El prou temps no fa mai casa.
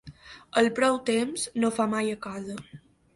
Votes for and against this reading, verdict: 0, 3, rejected